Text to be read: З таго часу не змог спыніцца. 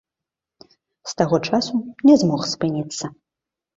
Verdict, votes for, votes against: accepted, 2, 0